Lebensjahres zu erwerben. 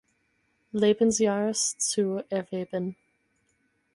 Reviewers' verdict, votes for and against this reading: accepted, 4, 2